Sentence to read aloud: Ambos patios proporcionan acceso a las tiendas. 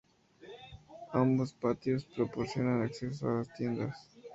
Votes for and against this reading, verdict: 2, 0, accepted